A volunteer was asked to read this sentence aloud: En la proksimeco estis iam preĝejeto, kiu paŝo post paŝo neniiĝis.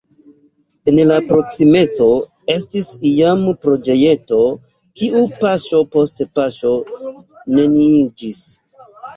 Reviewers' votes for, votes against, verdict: 1, 2, rejected